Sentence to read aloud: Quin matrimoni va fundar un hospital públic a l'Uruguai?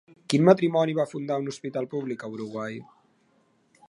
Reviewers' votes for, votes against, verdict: 0, 3, rejected